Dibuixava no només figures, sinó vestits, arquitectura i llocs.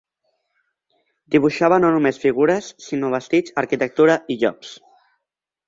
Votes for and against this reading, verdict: 1, 2, rejected